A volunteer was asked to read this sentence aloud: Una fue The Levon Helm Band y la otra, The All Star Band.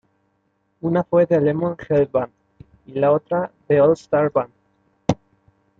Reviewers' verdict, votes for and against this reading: accepted, 2, 1